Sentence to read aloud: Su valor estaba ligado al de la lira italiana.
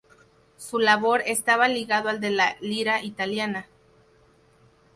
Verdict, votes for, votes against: rejected, 0, 2